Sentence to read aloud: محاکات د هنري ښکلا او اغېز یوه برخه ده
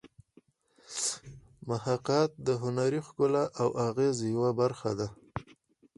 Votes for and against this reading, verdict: 2, 4, rejected